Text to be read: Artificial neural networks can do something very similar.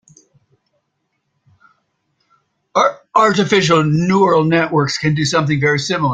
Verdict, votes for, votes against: rejected, 1, 2